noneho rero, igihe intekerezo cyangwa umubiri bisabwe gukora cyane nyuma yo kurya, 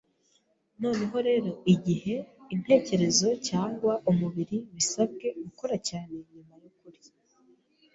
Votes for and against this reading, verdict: 1, 2, rejected